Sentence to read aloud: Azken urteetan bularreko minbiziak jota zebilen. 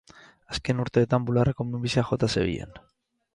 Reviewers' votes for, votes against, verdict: 4, 0, accepted